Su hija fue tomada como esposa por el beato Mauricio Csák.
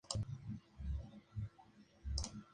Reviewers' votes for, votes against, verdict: 0, 2, rejected